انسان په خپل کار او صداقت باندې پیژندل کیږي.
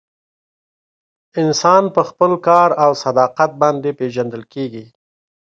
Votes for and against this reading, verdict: 2, 0, accepted